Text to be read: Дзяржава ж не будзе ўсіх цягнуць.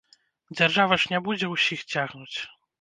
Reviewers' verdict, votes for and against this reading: rejected, 1, 2